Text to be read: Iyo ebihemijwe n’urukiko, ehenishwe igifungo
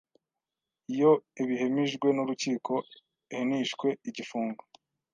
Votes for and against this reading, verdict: 1, 2, rejected